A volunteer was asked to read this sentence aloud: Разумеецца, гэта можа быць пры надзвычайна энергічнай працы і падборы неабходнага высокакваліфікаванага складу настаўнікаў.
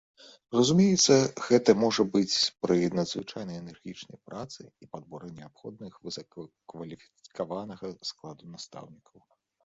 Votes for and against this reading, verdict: 0, 2, rejected